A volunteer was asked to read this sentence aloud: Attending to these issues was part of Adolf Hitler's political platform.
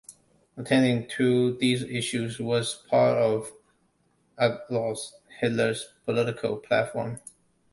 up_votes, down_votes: 0, 2